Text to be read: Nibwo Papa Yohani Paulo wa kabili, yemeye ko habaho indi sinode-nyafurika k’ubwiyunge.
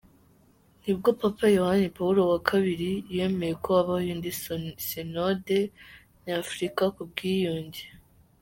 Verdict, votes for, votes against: rejected, 1, 2